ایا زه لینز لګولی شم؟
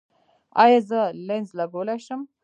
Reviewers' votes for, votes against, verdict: 2, 1, accepted